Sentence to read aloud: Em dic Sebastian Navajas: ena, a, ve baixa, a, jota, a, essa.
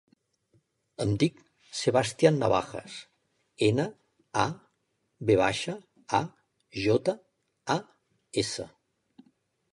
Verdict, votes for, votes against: rejected, 1, 2